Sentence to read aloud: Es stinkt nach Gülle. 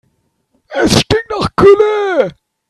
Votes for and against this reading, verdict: 0, 3, rejected